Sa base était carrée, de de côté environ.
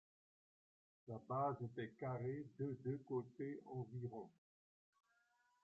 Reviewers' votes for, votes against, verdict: 0, 2, rejected